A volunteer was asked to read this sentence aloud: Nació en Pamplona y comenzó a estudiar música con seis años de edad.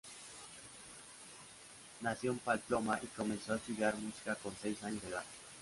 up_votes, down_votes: 0, 2